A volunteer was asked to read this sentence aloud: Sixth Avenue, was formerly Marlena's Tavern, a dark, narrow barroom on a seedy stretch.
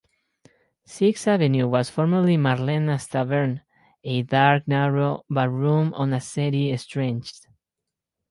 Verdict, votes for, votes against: rejected, 2, 4